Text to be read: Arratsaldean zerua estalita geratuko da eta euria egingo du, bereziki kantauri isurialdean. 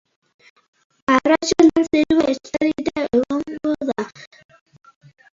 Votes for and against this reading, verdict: 0, 3, rejected